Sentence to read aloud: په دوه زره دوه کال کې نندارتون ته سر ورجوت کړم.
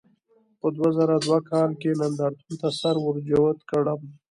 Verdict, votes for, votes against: accepted, 2, 1